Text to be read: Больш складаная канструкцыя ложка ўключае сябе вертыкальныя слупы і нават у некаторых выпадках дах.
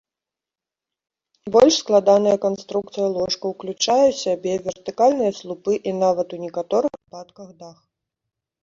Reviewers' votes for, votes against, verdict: 2, 1, accepted